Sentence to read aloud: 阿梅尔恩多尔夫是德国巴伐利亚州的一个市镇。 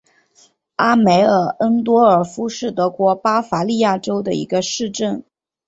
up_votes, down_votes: 2, 0